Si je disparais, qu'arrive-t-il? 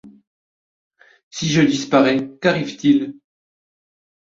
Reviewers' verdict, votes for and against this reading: accepted, 2, 0